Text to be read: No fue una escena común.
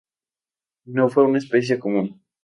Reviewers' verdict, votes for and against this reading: rejected, 0, 2